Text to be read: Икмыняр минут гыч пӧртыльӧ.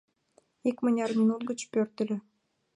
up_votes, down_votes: 2, 0